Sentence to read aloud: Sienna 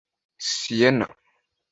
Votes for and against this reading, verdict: 2, 0, accepted